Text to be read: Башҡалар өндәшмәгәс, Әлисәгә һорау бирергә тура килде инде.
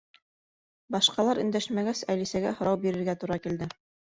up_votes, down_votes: 1, 2